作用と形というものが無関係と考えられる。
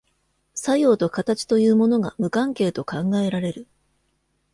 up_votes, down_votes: 2, 0